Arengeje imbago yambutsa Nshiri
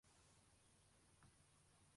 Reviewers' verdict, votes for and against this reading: rejected, 0, 2